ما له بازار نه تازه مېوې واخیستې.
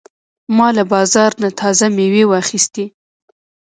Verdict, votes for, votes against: rejected, 1, 2